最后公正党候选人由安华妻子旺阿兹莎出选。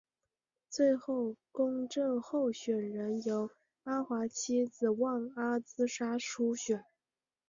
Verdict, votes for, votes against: rejected, 0, 3